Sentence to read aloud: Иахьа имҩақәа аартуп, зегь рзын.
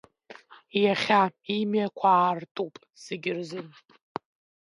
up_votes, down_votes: 1, 2